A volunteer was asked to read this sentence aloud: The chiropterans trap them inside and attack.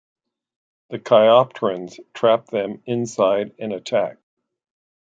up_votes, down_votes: 2, 1